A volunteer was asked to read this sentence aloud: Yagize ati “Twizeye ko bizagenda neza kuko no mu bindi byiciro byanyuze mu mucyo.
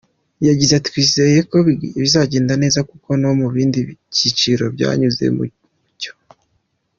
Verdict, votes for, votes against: accepted, 2, 1